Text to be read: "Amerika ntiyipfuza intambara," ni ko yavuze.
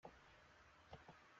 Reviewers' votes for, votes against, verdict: 0, 2, rejected